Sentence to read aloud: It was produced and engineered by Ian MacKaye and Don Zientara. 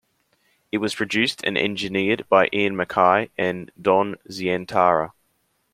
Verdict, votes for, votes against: accepted, 2, 0